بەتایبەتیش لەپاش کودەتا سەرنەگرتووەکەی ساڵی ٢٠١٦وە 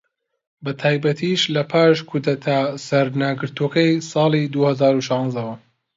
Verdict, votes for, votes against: rejected, 0, 2